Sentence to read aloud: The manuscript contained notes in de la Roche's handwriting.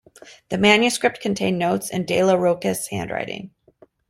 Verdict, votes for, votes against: rejected, 1, 2